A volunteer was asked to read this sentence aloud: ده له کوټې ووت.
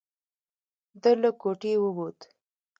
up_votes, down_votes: 1, 2